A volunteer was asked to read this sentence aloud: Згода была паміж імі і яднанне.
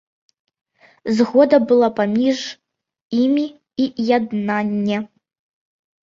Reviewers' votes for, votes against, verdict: 2, 0, accepted